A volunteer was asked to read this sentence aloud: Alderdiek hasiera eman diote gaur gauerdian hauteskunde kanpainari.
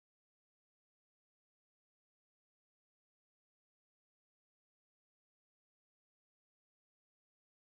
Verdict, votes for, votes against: rejected, 0, 2